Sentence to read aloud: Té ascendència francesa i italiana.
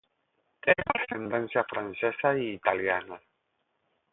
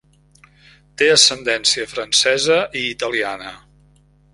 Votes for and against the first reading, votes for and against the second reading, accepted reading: 0, 8, 3, 0, second